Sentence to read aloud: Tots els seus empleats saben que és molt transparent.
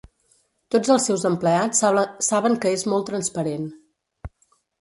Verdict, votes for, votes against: rejected, 0, 2